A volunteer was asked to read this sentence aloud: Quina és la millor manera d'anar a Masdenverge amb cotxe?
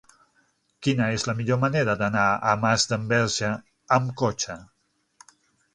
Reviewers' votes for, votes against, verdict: 9, 0, accepted